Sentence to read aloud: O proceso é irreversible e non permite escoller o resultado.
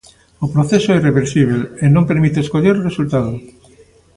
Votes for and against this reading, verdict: 2, 0, accepted